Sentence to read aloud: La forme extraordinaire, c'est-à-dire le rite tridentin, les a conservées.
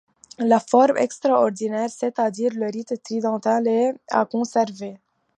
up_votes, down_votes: 1, 2